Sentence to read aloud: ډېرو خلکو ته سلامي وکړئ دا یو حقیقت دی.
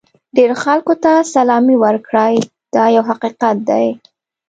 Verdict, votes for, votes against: accepted, 3, 1